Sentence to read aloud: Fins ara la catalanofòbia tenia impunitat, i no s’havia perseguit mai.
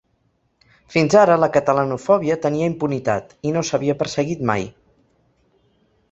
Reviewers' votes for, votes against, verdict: 3, 0, accepted